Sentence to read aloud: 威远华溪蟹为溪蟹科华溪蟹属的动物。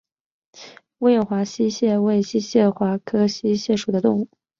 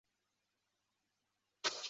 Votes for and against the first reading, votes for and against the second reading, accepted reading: 2, 0, 0, 3, first